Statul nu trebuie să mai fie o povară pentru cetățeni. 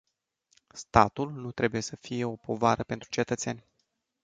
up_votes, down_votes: 1, 2